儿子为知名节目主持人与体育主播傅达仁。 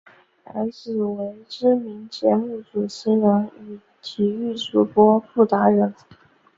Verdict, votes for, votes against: accepted, 2, 1